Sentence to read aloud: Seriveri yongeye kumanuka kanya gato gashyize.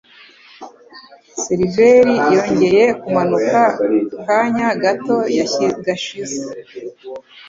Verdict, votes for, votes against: rejected, 0, 2